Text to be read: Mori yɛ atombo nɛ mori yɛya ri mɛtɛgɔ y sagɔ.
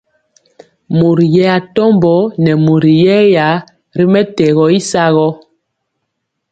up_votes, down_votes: 2, 0